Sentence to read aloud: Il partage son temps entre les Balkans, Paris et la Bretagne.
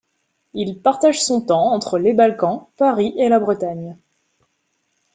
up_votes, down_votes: 2, 0